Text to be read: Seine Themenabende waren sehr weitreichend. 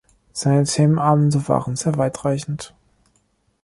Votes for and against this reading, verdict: 2, 0, accepted